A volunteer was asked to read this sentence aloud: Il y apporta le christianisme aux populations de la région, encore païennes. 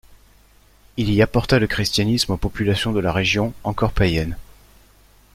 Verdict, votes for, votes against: accepted, 2, 0